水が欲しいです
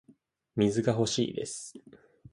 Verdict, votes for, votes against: accepted, 3, 0